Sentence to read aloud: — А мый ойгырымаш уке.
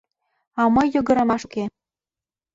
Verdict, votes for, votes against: rejected, 1, 2